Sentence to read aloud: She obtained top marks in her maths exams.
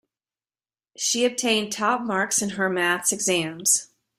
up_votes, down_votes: 2, 0